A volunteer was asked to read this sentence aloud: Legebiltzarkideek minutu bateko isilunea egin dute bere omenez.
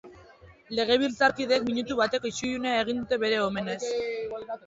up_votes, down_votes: 4, 1